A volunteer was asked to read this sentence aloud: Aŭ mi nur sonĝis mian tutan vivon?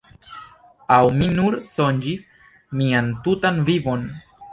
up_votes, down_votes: 1, 2